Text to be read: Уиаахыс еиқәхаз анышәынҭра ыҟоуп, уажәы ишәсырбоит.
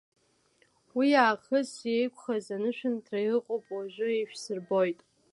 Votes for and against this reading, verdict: 2, 1, accepted